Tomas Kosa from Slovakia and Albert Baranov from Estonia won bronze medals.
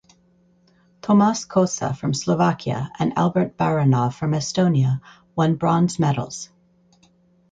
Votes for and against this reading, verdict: 4, 0, accepted